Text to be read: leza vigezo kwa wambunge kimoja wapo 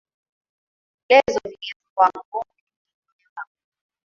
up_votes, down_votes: 1, 3